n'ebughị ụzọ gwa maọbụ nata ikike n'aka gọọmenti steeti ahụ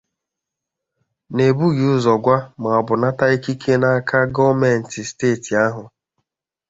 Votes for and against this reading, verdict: 0, 2, rejected